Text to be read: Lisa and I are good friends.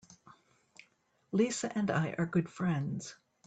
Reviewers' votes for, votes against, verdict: 3, 0, accepted